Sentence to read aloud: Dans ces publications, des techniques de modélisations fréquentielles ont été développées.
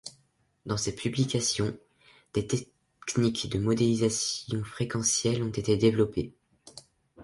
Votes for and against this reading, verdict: 0, 2, rejected